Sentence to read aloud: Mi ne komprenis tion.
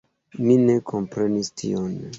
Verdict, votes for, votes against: accepted, 2, 0